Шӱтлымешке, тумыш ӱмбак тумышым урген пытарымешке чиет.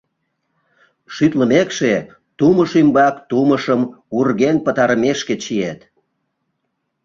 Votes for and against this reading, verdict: 0, 2, rejected